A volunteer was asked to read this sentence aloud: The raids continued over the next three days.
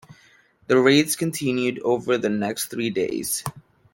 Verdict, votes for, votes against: accepted, 2, 0